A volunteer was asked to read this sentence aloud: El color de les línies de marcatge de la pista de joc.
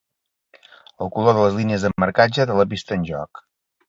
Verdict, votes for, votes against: rejected, 1, 2